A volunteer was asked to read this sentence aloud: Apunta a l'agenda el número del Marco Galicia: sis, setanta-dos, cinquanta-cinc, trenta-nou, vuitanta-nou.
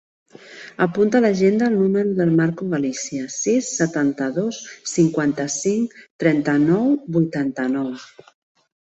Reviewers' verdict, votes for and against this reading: accepted, 2, 0